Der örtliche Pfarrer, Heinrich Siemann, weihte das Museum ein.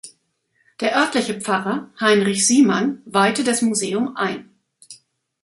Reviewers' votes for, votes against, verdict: 3, 0, accepted